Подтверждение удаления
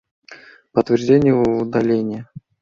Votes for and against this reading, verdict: 2, 0, accepted